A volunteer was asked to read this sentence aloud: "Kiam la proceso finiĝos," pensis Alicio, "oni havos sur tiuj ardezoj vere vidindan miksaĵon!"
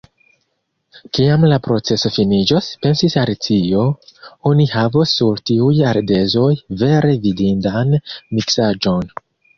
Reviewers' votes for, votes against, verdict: 1, 2, rejected